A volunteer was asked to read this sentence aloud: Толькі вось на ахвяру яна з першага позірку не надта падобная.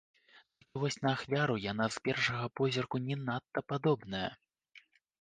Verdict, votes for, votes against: rejected, 0, 2